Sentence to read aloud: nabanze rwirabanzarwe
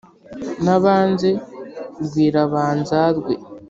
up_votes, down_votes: 3, 0